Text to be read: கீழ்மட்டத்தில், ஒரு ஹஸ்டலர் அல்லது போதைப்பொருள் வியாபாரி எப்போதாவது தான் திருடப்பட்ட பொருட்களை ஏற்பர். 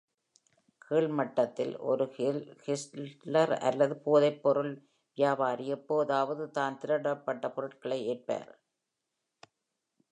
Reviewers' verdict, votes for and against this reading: rejected, 1, 2